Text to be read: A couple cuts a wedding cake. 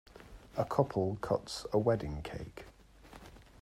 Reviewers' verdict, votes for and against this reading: accepted, 2, 0